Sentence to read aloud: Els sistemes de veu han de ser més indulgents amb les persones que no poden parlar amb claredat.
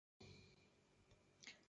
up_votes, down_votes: 0, 2